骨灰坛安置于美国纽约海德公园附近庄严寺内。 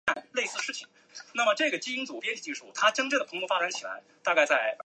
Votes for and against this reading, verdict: 0, 2, rejected